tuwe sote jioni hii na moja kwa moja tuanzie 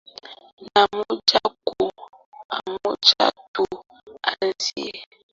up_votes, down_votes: 0, 3